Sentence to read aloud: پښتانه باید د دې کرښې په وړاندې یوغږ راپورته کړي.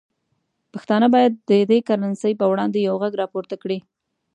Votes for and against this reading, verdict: 1, 2, rejected